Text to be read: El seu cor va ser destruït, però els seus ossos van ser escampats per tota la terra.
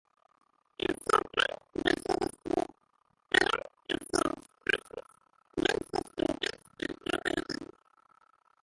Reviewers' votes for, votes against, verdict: 0, 2, rejected